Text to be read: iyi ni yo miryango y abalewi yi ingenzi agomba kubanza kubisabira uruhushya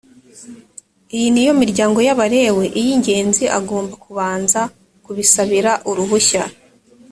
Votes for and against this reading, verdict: 2, 0, accepted